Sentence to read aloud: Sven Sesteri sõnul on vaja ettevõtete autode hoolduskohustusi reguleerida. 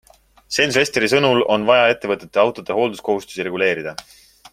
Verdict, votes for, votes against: accepted, 2, 0